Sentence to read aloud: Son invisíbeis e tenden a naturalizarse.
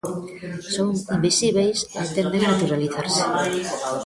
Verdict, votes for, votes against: rejected, 0, 2